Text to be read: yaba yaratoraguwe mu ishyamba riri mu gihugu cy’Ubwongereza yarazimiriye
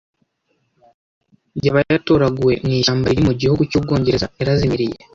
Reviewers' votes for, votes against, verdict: 1, 2, rejected